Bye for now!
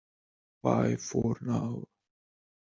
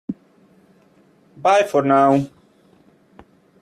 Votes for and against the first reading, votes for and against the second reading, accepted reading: 1, 2, 2, 0, second